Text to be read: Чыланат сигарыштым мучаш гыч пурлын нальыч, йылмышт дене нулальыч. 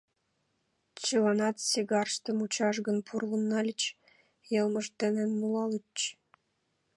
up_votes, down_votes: 1, 2